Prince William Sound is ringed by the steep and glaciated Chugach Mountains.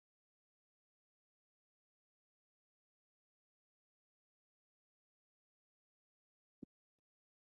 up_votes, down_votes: 0, 6